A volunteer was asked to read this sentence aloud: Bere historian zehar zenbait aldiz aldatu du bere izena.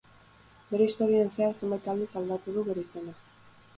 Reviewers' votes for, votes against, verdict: 4, 0, accepted